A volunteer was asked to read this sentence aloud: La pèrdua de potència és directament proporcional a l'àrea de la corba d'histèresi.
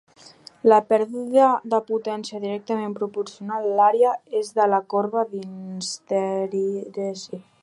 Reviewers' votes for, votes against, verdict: 0, 2, rejected